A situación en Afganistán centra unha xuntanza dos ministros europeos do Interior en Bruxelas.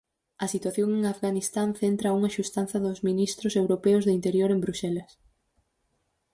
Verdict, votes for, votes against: rejected, 0, 4